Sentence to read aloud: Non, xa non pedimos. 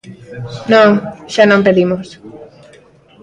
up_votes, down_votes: 2, 0